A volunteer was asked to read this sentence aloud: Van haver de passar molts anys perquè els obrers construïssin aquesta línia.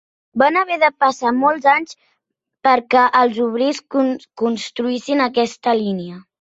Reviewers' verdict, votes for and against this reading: rejected, 0, 2